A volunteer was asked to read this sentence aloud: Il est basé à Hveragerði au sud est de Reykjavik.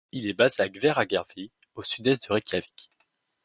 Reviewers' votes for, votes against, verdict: 2, 0, accepted